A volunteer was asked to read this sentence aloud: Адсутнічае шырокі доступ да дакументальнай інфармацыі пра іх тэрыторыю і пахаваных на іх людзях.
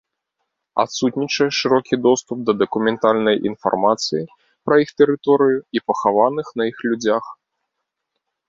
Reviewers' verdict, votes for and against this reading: rejected, 1, 2